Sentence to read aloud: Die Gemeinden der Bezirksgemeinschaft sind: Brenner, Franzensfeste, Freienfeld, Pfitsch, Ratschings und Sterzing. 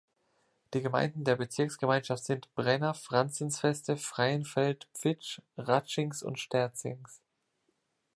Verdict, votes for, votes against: rejected, 1, 2